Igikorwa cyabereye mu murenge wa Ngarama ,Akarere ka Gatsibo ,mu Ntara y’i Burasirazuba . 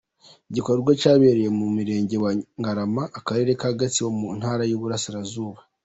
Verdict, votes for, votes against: accepted, 2, 0